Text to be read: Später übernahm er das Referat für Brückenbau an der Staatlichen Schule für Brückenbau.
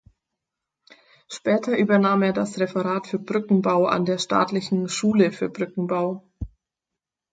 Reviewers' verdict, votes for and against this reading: accepted, 4, 0